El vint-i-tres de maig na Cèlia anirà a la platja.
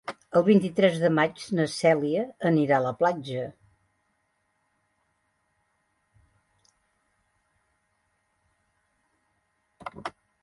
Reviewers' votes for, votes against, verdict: 4, 0, accepted